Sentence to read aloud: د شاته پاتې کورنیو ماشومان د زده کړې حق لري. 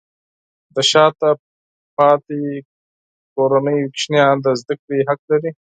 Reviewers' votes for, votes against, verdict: 2, 4, rejected